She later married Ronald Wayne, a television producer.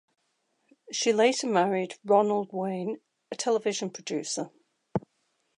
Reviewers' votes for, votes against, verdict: 2, 0, accepted